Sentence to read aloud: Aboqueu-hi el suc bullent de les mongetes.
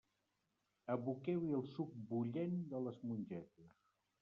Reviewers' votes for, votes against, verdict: 1, 2, rejected